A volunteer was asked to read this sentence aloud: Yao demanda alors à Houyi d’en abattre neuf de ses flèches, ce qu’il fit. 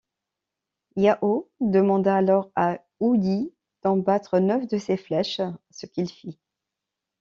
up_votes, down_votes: 1, 2